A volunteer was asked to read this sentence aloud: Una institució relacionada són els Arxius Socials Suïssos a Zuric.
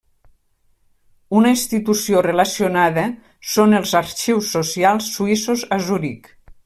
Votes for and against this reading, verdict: 3, 0, accepted